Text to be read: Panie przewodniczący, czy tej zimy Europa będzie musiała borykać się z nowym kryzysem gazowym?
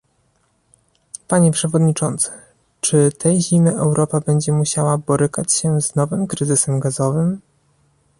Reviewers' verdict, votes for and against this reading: accepted, 2, 0